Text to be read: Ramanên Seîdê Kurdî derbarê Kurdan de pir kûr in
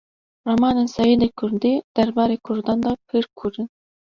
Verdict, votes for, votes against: accepted, 2, 0